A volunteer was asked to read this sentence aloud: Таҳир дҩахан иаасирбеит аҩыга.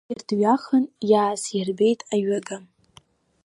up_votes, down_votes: 1, 2